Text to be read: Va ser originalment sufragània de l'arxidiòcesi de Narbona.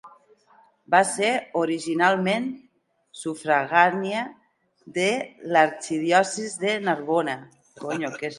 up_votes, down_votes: 0, 2